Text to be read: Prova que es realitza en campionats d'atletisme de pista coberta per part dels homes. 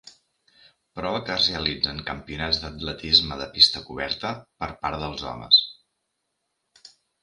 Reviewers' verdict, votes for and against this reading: rejected, 0, 2